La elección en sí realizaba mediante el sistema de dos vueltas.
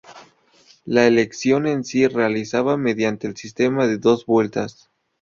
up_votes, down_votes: 0, 2